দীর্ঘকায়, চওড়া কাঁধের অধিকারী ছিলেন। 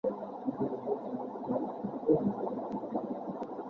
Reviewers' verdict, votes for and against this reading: rejected, 0, 2